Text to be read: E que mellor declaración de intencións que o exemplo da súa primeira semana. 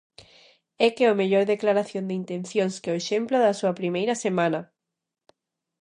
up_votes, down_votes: 0, 2